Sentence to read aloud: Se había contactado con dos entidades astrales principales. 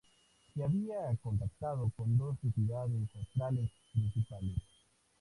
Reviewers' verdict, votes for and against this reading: accepted, 2, 0